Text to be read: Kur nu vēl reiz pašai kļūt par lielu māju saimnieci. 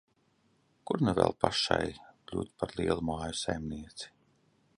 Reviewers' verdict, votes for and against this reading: rejected, 0, 2